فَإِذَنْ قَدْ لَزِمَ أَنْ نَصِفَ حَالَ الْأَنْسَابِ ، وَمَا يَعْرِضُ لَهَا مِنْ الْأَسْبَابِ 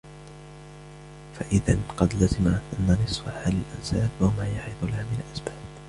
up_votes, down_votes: 2, 1